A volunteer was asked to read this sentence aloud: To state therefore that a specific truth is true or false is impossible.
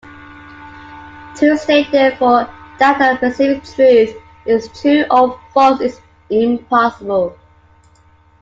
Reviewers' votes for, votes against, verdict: 2, 1, accepted